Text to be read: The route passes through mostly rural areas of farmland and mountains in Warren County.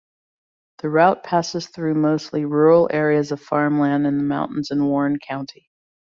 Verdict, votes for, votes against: rejected, 1, 2